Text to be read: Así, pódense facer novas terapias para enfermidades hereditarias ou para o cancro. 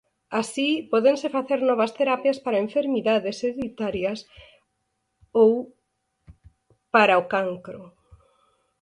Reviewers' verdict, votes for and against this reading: accepted, 4, 2